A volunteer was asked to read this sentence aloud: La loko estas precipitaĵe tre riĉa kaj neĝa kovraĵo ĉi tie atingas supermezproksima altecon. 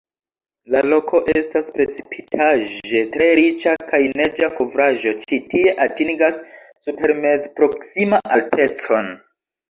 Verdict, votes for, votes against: accepted, 2, 0